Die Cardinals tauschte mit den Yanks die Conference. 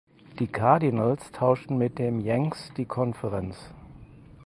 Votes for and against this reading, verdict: 0, 4, rejected